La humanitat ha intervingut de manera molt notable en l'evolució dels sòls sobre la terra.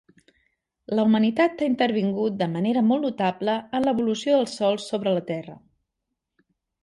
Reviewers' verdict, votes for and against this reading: accepted, 2, 0